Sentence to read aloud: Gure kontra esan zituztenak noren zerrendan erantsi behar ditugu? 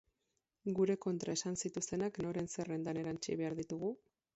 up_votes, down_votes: 2, 4